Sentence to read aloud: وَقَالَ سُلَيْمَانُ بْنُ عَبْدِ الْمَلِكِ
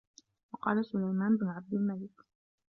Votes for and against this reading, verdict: 0, 2, rejected